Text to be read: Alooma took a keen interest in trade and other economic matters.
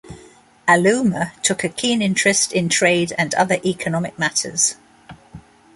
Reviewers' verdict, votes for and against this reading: accepted, 2, 0